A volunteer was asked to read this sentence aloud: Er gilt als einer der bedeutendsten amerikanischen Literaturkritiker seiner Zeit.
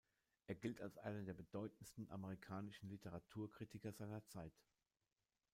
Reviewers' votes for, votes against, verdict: 0, 2, rejected